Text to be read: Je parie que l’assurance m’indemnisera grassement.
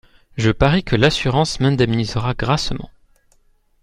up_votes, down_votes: 2, 0